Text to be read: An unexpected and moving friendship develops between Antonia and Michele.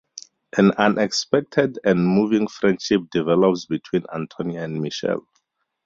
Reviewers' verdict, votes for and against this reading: accepted, 2, 0